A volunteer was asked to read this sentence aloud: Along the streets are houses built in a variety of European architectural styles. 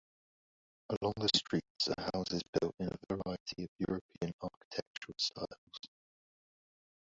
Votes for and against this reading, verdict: 0, 2, rejected